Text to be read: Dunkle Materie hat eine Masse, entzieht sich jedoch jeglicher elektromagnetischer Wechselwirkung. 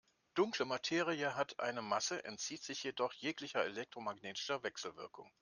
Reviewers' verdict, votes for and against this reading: accepted, 2, 0